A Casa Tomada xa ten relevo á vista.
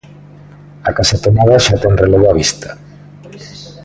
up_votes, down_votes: 2, 0